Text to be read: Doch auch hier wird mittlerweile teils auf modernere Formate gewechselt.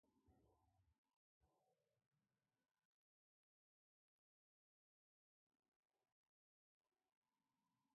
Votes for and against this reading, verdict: 0, 2, rejected